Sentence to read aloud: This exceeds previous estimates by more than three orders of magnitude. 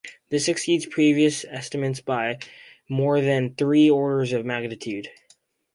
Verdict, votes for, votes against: accepted, 4, 0